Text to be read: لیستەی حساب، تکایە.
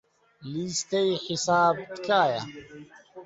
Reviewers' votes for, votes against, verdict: 1, 2, rejected